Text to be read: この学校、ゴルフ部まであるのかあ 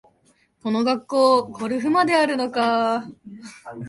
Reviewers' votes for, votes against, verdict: 0, 2, rejected